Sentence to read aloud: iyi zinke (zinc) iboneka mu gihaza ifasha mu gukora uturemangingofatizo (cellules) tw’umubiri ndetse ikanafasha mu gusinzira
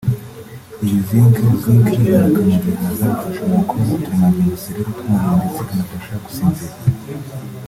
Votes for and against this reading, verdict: 0, 2, rejected